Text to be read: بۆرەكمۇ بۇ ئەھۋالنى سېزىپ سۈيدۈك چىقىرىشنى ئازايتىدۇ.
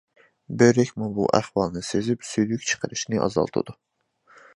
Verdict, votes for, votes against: rejected, 0, 2